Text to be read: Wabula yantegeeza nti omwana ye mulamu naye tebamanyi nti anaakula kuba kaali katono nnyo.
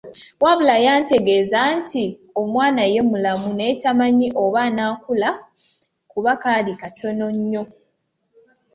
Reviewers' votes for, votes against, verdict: 0, 2, rejected